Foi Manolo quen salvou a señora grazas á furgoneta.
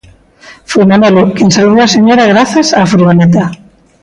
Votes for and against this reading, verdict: 2, 0, accepted